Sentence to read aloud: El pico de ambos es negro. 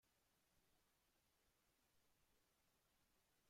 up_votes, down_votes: 0, 2